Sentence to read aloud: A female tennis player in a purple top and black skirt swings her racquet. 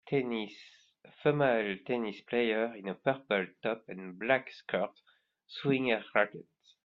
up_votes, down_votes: 0, 2